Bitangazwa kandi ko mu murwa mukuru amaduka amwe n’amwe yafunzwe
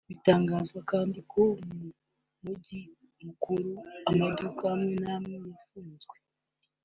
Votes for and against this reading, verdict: 1, 2, rejected